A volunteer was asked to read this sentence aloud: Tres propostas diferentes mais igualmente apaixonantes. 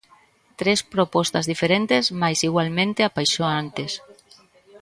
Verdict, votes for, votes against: rejected, 0, 2